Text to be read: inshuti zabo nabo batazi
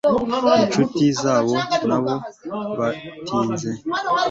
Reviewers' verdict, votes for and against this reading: rejected, 1, 2